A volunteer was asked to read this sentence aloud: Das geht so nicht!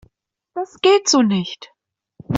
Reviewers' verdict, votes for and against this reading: accepted, 2, 1